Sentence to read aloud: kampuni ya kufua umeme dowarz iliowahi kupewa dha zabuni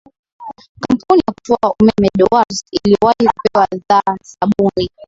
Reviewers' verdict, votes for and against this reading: accepted, 2, 0